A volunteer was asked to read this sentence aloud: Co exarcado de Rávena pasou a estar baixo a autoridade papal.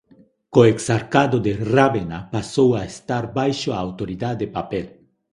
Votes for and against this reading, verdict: 0, 2, rejected